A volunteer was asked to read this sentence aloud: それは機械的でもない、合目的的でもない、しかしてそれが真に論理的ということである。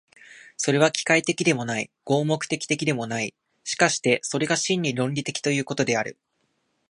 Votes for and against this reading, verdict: 2, 0, accepted